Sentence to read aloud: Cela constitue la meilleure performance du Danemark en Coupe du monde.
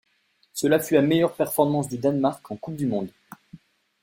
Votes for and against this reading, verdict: 1, 2, rejected